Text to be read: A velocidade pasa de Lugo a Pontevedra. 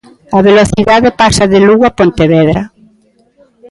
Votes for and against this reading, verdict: 1, 2, rejected